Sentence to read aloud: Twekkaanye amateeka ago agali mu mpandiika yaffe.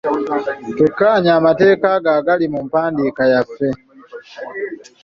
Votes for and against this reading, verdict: 2, 0, accepted